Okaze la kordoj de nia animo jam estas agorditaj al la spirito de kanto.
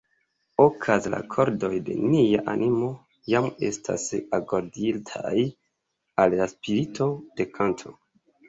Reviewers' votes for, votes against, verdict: 1, 2, rejected